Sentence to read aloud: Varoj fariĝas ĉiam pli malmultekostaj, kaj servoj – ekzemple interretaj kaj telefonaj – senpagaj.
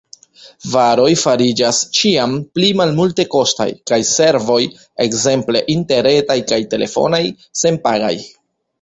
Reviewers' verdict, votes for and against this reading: accepted, 2, 0